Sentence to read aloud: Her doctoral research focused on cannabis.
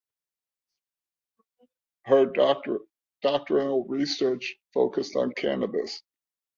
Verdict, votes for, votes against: rejected, 0, 2